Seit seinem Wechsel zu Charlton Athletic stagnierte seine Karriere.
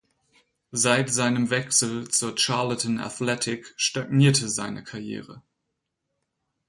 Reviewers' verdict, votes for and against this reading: rejected, 0, 4